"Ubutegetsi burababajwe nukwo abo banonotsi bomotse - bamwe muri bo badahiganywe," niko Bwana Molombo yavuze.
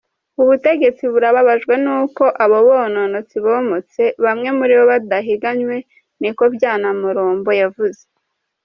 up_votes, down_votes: 0, 2